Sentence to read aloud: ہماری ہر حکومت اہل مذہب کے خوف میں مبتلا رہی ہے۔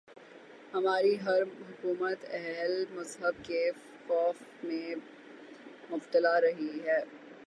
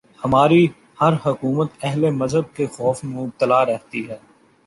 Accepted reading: first